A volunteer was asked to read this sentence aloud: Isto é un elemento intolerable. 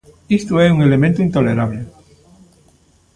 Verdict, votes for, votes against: accepted, 2, 0